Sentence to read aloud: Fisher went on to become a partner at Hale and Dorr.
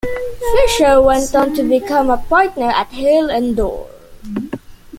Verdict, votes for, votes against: accepted, 2, 0